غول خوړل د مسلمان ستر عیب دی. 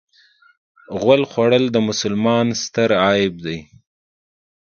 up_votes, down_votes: 2, 1